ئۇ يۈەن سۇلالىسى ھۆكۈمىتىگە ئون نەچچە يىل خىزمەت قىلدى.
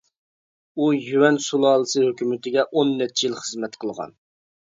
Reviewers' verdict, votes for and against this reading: rejected, 0, 2